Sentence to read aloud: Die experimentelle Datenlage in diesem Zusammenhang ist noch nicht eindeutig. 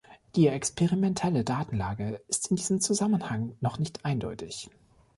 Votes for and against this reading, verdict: 1, 2, rejected